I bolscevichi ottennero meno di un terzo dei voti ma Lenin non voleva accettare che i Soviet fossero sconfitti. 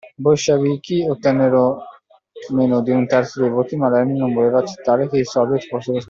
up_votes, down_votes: 1, 2